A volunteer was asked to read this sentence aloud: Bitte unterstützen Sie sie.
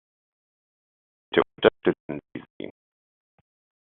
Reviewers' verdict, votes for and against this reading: rejected, 0, 2